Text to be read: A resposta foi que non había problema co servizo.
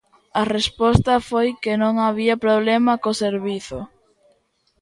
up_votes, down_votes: 2, 0